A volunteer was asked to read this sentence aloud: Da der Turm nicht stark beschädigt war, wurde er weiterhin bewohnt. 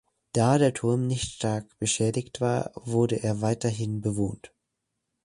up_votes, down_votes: 2, 0